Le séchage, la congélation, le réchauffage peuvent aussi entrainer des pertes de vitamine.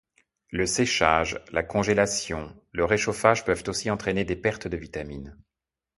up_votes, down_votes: 2, 0